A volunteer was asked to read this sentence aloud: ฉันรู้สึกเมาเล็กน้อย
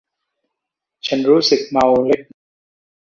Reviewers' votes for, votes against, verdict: 0, 2, rejected